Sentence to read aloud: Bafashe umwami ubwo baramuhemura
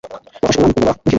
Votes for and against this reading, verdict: 2, 1, accepted